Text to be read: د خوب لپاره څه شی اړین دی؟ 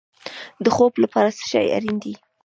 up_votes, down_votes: 0, 2